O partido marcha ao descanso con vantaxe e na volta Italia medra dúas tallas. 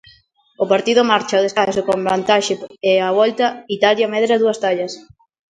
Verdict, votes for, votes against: rejected, 0, 2